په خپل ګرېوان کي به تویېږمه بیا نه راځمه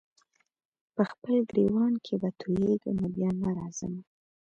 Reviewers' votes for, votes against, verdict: 1, 2, rejected